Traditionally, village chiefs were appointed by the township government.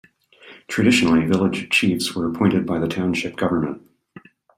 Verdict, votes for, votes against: accepted, 2, 0